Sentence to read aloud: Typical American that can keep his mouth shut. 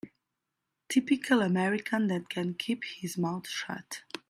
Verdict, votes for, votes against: accepted, 2, 0